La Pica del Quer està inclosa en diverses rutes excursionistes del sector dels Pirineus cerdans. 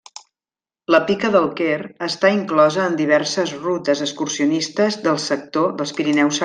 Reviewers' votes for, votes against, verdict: 0, 2, rejected